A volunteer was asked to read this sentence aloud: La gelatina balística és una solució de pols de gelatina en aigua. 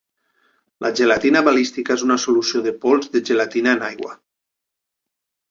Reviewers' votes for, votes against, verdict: 5, 0, accepted